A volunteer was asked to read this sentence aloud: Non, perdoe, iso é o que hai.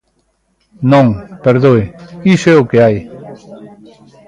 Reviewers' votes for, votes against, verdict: 0, 2, rejected